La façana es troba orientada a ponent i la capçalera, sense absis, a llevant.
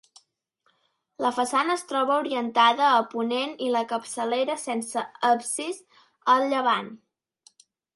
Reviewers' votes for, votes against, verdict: 2, 0, accepted